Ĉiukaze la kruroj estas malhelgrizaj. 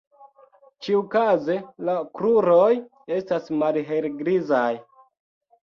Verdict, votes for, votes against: accepted, 2, 0